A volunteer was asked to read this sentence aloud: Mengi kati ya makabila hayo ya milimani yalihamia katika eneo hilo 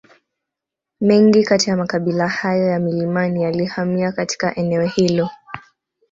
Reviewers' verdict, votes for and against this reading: accepted, 2, 0